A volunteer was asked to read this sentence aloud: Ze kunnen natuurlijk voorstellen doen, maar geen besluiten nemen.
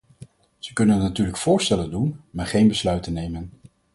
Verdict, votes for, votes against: accepted, 4, 0